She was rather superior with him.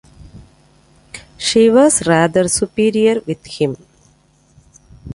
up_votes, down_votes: 2, 0